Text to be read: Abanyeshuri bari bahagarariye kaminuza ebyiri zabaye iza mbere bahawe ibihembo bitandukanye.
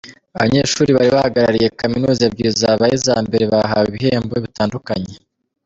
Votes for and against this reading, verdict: 2, 0, accepted